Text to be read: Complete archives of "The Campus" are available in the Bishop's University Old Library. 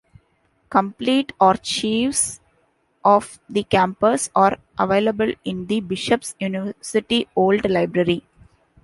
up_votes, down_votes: 2, 0